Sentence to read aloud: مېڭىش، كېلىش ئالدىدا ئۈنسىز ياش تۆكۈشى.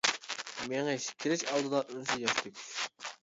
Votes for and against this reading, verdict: 0, 2, rejected